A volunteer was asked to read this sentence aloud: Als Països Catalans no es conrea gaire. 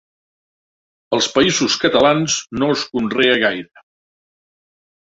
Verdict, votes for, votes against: rejected, 1, 2